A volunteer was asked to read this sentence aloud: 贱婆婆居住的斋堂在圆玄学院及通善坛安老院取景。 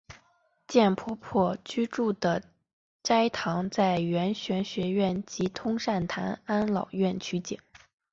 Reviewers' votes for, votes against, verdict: 3, 0, accepted